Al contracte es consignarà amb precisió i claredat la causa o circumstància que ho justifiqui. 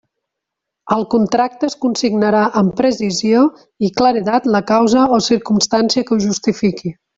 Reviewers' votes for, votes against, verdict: 0, 2, rejected